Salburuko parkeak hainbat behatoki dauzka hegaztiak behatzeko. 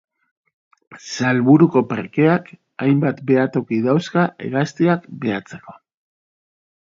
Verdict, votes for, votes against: accepted, 2, 0